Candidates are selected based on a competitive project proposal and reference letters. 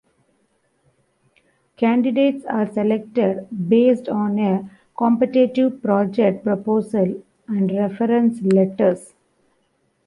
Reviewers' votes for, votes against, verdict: 2, 0, accepted